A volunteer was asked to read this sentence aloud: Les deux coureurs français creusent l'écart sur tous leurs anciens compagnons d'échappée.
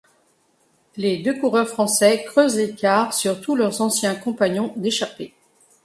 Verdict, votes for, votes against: accepted, 2, 0